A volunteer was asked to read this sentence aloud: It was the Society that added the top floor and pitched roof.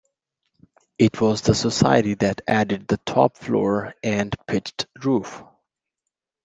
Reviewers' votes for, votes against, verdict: 2, 0, accepted